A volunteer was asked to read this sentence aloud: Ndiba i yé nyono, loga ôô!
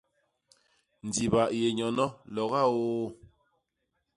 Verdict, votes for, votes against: accepted, 2, 0